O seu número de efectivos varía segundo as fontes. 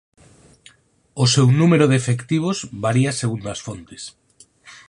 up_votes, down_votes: 4, 0